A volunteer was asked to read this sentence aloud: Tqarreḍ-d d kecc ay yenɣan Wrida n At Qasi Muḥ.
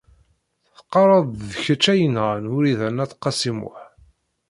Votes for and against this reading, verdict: 0, 2, rejected